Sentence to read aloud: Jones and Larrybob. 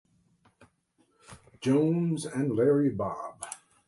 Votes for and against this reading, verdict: 2, 0, accepted